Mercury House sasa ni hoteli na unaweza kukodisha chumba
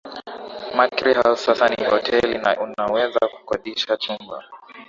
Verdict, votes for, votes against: rejected, 2, 2